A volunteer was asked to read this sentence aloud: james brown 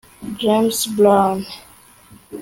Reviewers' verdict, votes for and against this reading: rejected, 0, 2